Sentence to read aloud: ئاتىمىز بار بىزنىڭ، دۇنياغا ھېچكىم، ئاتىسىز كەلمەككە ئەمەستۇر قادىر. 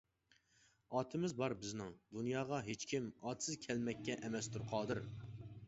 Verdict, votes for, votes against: accepted, 2, 0